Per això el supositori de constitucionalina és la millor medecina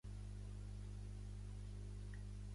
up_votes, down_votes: 0, 2